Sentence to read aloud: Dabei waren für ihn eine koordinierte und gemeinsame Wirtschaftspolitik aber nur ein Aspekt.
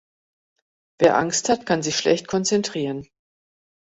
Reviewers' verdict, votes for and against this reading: rejected, 1, 2